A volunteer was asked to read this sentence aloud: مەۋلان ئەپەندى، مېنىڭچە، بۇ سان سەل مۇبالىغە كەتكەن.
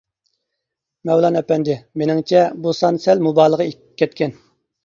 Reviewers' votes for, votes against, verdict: 0, 2, rejected